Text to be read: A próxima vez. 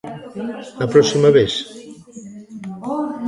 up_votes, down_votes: 0, 2